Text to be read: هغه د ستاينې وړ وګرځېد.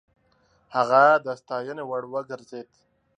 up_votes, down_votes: 2, 0